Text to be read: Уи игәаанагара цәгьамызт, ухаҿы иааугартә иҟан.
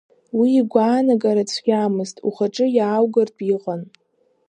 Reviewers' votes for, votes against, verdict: 2, 1, accepted